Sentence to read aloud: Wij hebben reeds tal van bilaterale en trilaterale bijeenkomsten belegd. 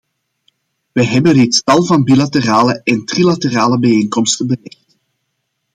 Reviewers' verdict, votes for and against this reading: rejected, 1, 2